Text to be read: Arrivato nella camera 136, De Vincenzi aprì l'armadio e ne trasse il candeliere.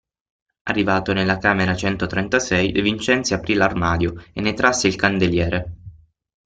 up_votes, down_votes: 0, 2